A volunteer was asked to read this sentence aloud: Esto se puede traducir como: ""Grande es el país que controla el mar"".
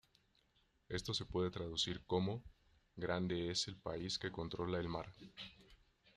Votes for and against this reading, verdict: 1, 2, rejected